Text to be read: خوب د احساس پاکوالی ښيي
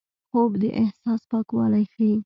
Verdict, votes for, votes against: accepted, 2, 0